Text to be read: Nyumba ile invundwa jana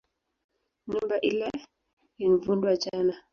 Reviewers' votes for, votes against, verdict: 1, 2, rejected